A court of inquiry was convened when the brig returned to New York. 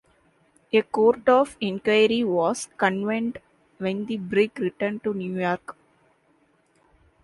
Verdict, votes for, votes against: rejected, 0, 2